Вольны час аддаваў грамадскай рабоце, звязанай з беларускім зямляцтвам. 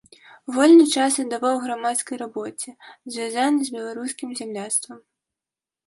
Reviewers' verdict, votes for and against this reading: accepted, 2, 0